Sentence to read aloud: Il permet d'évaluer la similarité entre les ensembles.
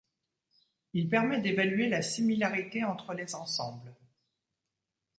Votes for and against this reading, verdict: 2, 1, accepted